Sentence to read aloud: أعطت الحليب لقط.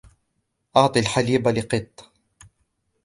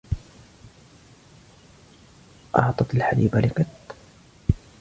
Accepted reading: second